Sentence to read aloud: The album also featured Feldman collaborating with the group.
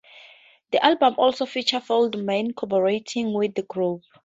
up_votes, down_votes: 2, 0